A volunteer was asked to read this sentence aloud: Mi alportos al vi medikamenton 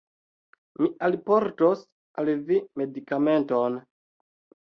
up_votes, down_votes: 2, 0